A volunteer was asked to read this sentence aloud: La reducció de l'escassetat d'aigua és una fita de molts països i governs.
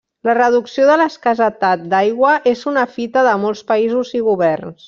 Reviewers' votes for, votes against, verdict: 1, 2, rejected